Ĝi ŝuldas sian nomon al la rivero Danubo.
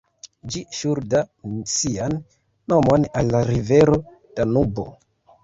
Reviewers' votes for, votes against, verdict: 2, 3, rejected